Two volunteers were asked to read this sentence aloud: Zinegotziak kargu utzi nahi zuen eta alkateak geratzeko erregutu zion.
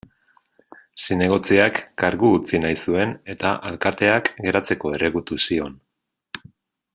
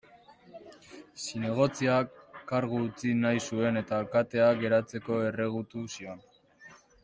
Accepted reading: first